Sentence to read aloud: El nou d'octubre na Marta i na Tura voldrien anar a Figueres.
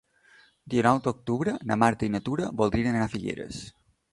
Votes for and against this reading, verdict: 1, 2, rejected